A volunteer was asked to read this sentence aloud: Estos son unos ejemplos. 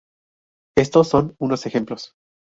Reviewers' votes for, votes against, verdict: 4, 0, accepted